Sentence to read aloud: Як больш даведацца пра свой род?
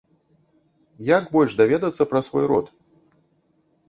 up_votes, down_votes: 2, 0